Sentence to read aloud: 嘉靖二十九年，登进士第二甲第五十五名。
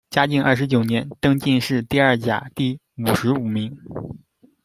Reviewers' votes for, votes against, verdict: 2, 0, accepted